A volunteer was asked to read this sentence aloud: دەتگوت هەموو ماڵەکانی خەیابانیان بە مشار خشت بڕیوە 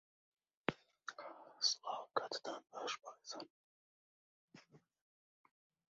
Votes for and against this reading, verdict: 0, 2, rejected